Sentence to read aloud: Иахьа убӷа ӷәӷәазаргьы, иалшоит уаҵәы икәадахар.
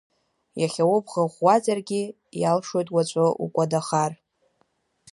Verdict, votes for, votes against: rejected, 0, 2